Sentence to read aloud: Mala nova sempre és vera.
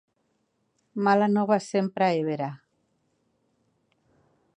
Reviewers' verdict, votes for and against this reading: accepted, 2, 0